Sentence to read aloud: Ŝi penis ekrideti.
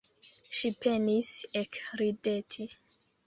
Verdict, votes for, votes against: accepted, 2, 1